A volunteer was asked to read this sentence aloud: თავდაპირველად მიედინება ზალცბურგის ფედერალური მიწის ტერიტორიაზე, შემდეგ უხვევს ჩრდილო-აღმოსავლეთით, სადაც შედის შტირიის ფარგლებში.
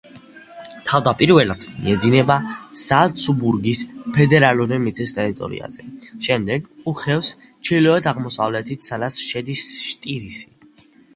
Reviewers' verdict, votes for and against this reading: rejected, 1, 2